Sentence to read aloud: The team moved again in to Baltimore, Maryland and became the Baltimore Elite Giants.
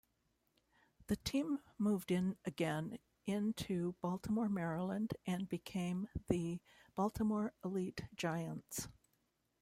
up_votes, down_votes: 1, 2